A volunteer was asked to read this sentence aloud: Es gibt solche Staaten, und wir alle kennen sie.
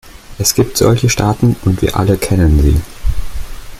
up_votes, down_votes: 2, 1